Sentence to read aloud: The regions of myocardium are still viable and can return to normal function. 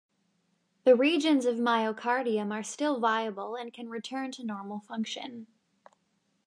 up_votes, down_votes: 2, 0